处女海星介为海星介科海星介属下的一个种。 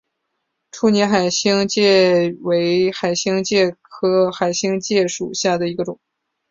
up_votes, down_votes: 2, 0